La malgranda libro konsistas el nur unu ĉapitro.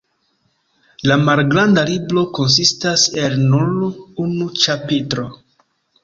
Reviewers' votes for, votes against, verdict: 2, 0, accepted